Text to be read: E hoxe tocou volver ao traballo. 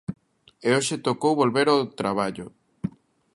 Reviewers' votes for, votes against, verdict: 2, 1, accepted